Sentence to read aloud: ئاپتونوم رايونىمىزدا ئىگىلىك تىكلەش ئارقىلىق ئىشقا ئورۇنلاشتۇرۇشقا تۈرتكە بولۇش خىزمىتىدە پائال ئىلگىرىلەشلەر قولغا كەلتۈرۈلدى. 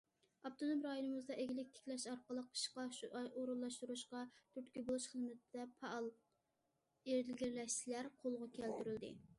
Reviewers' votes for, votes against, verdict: 0, 2, rejected